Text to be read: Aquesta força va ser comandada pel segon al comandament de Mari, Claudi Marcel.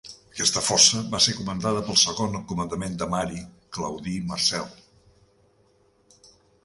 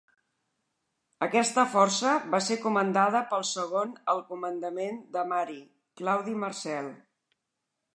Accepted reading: second